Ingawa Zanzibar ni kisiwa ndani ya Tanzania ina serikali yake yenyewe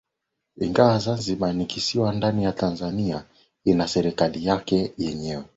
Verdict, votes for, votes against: accepted, 2, 0